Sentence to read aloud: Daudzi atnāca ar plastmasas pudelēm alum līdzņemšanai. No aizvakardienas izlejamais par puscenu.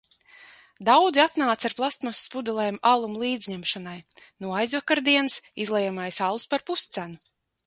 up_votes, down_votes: 0, 2